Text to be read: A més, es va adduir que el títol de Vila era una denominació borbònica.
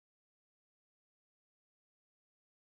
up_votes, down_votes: 1, 2